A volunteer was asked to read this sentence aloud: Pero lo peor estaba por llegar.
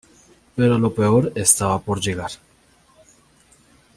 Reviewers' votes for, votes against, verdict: 2, 0, accepted